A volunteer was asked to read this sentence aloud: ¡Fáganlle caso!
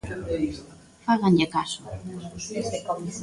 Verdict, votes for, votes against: rejected, 0, 2